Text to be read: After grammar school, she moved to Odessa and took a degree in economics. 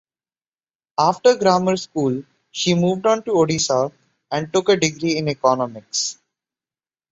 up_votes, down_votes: 1, 2